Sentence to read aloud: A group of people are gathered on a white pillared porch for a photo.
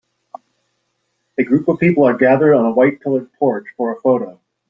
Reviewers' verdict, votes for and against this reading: accepted, 2, 0